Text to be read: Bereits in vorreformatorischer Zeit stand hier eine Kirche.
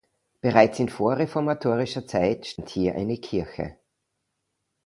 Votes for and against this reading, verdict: 2, 1, accepted